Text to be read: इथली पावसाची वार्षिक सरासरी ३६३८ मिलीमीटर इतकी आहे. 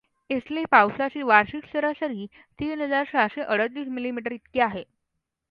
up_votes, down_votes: 0, 2